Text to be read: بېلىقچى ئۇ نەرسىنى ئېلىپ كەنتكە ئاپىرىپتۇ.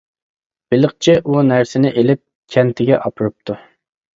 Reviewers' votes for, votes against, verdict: 0, 2, rejected